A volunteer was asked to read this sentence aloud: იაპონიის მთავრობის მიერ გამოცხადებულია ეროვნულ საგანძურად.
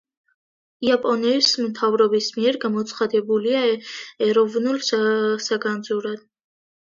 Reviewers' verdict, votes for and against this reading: rejected, 0, 2